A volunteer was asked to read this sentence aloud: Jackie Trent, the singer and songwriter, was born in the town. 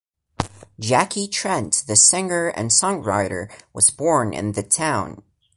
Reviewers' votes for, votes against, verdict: 2, 0, accepted